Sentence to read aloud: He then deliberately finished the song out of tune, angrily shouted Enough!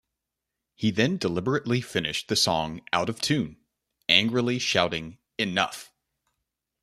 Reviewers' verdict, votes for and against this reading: rejected, 1, 2